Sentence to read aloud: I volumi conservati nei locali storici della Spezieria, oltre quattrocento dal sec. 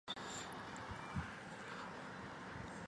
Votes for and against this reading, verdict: 0, 2, rejected